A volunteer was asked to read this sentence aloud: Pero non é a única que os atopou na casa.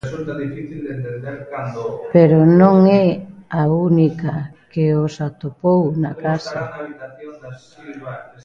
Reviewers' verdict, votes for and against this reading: rejected, 0, 2